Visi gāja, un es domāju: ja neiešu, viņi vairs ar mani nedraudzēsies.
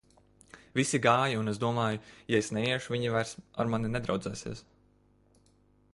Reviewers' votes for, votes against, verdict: 1, 2, rejected